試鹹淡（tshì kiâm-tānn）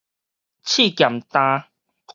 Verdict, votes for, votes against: accepted, 4, 0